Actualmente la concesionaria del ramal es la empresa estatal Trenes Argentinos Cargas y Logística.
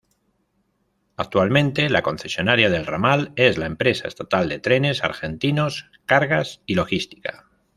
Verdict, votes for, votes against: rejected, 1, 2